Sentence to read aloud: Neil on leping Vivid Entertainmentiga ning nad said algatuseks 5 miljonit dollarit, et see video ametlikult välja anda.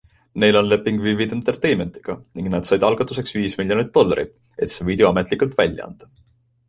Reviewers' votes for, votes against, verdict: 0, 2, rejected